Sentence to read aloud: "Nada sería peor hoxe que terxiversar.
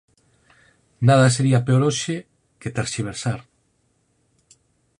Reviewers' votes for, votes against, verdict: 4, 0, accepted